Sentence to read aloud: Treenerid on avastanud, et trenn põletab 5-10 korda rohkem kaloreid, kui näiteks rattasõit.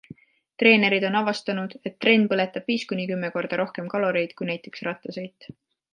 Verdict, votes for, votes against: rejected, 0, 2